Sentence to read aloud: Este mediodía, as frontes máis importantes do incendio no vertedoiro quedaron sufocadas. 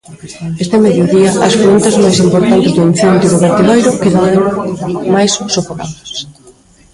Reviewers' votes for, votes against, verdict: 0, 2, rejected